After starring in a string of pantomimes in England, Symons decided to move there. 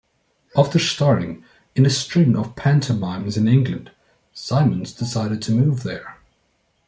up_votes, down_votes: 2, 0